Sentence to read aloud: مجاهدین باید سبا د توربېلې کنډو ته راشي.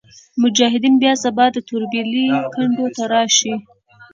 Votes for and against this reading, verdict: 0, 2, rejected